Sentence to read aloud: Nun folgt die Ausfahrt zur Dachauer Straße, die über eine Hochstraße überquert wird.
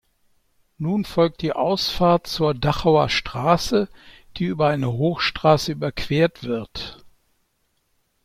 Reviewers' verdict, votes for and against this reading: accepted, 2, 0